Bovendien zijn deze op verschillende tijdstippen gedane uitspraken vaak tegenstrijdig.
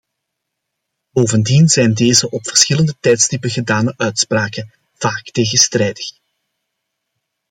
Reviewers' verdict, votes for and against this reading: accepted, 2, 0